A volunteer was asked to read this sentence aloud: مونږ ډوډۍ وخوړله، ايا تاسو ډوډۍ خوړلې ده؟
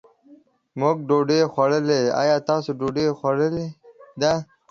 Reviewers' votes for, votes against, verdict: 0, 2, rejected